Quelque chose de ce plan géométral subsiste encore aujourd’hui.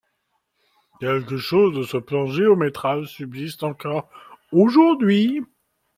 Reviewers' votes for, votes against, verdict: 2, 0, accepted